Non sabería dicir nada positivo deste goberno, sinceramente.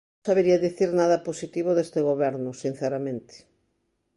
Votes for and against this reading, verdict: 0, 2, rejected